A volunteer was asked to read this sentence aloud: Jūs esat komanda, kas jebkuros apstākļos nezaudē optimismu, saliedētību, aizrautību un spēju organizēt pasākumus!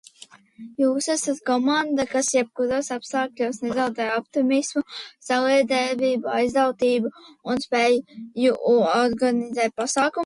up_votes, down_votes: 0, 2